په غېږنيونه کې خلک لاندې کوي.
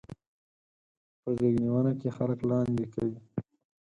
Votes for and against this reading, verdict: 2, 4, rejected